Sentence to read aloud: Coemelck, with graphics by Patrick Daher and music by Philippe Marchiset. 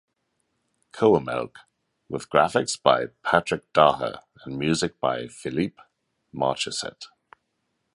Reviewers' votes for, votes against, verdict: 2, 0, accepted